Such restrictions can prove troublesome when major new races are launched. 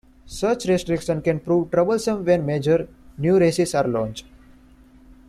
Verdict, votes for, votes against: accepted, 2, 1